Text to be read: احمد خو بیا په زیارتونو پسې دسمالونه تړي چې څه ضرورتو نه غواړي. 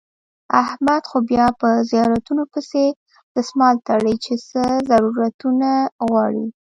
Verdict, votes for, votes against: rejected, 1, 2